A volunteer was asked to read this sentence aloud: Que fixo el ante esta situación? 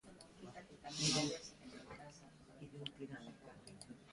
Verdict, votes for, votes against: rejected, 0, 2